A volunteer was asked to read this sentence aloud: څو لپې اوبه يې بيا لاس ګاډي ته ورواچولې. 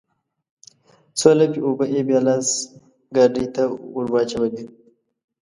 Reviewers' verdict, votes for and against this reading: accepted, 2, 0